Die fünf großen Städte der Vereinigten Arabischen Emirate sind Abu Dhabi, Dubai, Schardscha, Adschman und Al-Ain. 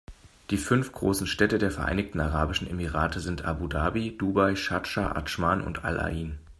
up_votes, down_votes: 2, 0